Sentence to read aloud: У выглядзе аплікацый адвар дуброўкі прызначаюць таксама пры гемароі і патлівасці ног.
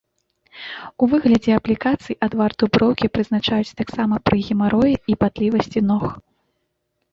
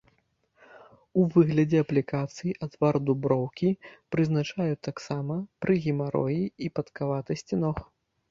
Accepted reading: first